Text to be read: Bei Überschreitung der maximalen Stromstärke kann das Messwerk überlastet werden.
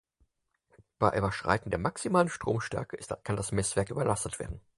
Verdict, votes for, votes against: rejected, 0, 4